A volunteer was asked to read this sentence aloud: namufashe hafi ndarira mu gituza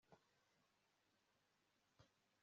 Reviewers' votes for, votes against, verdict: 0, 2, rejected